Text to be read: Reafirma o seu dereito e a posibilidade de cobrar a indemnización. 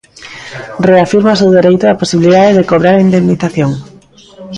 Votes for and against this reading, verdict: 0, 2, rejected